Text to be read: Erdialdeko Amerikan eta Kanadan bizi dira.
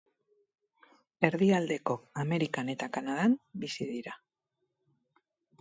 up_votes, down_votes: 2, 0